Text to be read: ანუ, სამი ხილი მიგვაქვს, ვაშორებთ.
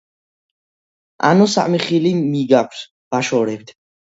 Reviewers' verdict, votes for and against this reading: rejected, 1, 2